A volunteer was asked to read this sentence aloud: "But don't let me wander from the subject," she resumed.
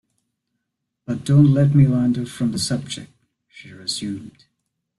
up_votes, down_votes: 2, 0